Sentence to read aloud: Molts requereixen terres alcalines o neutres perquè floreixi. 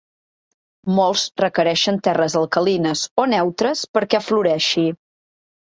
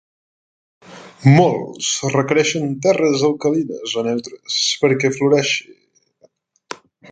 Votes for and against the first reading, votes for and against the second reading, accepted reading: 4, 0, 2, 3, first